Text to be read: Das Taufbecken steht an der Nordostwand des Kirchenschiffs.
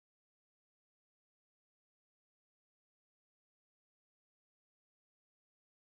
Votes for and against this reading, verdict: 0, 4, rejected